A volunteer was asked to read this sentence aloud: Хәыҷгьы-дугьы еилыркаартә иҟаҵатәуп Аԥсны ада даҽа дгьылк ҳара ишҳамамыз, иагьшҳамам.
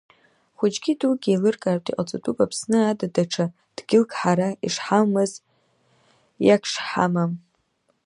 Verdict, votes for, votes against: rejected, 0, 2